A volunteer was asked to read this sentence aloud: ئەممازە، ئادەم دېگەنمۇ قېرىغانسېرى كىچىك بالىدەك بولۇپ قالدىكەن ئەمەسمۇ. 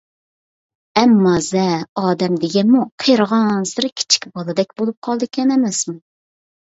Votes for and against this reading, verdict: 2, 0, accepted